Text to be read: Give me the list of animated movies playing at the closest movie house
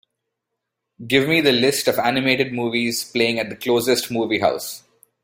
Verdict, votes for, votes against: accepted, 2, 0